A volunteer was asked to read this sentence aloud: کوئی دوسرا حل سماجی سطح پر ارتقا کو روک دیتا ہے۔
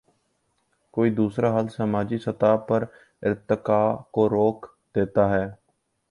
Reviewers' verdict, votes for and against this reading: accepted, 2, 0